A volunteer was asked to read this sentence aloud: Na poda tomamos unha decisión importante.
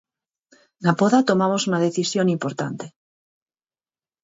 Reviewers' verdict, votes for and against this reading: rejected, 0, 4